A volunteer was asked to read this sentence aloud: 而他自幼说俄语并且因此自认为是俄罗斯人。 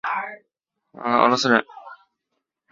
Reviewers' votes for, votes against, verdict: 0, 3, rejected